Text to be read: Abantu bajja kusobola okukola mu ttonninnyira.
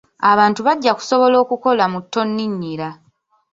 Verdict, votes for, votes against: accepted, 2, 0